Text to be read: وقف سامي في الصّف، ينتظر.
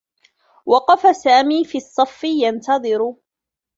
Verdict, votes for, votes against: rejected, 1, 2